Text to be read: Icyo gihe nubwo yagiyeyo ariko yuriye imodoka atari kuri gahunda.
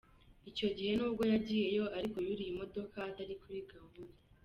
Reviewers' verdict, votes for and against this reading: rejected, 1, 2